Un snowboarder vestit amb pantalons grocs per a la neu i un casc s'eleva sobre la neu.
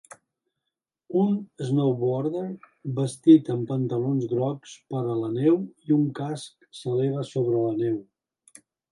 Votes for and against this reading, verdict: 2, 0, accepted